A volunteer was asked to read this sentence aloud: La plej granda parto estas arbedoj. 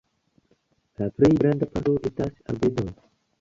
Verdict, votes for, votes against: rejected, 0, 2